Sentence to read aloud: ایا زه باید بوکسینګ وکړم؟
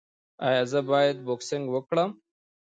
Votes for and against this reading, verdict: 1, 2, rejected